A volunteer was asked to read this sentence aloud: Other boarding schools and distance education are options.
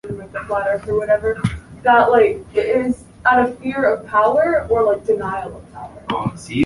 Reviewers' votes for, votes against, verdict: 0, 2, rejected